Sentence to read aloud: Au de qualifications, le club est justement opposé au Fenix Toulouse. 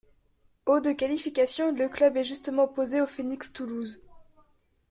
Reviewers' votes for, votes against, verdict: 1, 3, rejected